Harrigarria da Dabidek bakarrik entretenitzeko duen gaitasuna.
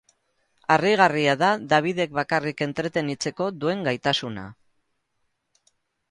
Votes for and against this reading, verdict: 2, 0, accepted